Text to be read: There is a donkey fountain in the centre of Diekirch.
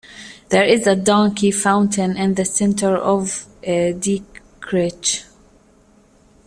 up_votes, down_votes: 1, 2